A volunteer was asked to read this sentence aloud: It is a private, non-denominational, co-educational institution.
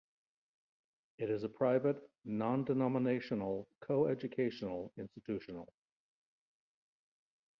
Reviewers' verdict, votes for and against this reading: rejected, 1, 2